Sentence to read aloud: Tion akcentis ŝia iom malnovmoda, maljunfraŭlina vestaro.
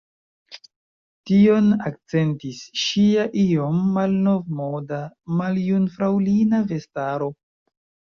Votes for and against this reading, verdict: 2, 0, accepted